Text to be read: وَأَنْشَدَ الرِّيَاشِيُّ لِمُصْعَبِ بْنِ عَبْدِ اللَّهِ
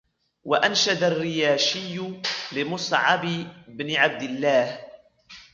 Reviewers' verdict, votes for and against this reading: accepted, 2, 1